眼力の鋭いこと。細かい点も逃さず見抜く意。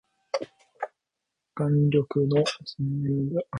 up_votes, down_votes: 0, 2